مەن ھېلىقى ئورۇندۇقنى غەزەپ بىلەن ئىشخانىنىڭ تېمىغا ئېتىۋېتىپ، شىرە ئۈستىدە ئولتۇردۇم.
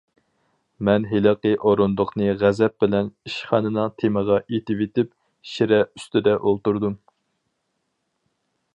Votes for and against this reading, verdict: 4, 0, accepted